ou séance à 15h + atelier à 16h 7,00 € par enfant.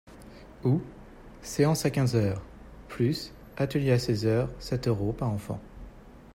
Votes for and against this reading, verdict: 0, 2, rejected